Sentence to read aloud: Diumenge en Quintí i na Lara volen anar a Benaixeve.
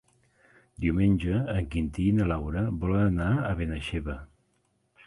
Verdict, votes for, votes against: rejected, 0, 2